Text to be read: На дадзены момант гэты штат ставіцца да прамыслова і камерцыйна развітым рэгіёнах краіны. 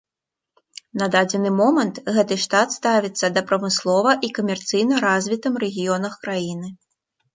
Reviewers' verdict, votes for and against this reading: accepted, 2, 0